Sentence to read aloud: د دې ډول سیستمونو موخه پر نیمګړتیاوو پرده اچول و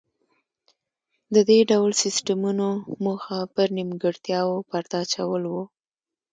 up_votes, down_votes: 2, 0